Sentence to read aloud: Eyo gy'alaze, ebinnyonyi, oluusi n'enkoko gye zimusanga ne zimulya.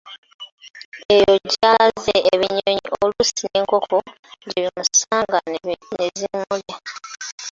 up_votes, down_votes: 0, 2